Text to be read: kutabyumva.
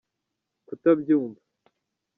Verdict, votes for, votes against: rejected, 1, 2